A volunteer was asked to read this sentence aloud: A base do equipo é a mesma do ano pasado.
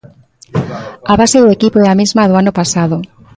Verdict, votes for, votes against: accepted, 2, 0